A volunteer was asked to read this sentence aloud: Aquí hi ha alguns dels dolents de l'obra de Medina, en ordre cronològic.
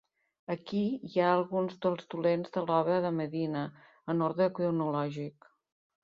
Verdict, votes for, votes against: accepted, 2, 0